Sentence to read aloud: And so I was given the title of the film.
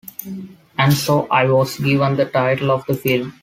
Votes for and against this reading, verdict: 2, 1, accepted